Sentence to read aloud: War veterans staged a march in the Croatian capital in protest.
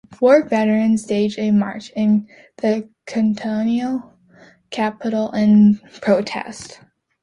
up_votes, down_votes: 1, 2